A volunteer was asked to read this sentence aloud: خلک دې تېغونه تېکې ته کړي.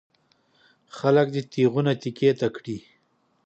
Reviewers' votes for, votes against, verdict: 2, 0, accepted